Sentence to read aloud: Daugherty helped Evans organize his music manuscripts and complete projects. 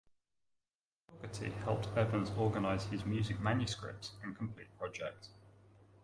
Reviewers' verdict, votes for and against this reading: rejected, 1, 2